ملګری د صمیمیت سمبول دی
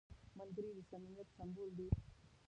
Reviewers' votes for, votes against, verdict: 0, 2, rejected